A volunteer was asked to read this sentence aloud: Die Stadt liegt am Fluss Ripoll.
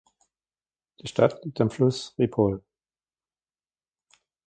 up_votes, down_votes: 2, 0